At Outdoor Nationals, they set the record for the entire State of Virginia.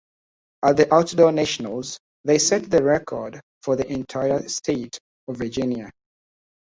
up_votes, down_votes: 0, 2